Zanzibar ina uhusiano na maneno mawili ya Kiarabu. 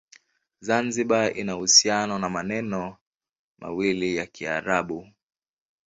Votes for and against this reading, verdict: 2, 0, accepted